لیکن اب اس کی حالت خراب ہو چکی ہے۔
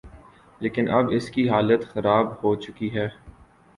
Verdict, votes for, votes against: accepted, 8, 1